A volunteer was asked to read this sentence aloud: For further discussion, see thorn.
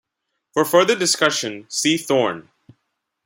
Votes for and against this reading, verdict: 2, 0, accepted